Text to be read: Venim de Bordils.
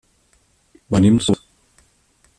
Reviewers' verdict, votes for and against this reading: rejected, 0, 3